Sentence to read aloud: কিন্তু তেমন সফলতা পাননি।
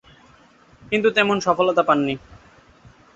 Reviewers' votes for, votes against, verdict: 13, 1, accepted